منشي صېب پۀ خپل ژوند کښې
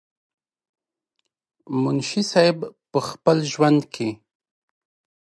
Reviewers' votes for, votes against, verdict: 2, 0, accepted